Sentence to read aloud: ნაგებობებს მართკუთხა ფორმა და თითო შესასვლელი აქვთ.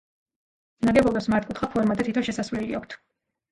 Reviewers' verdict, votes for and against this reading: rejected, 1, 2